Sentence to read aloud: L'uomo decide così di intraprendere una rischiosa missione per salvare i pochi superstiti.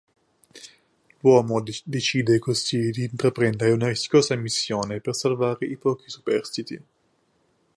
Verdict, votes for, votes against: rejected, 1, 3